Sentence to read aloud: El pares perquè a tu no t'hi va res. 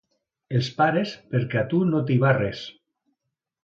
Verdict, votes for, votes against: rejected, 1, 2